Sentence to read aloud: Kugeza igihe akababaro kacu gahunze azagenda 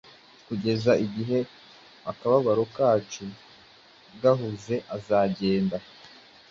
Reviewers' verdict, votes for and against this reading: accepted, 2, 0